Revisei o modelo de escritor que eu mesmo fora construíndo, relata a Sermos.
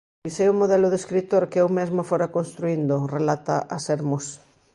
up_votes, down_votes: 1, 2